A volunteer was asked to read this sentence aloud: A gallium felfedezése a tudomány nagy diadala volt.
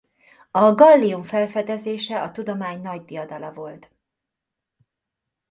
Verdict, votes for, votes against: accepted, 2, 0